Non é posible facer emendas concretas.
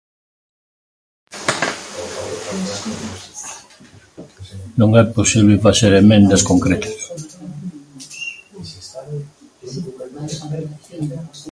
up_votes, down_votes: 0, 2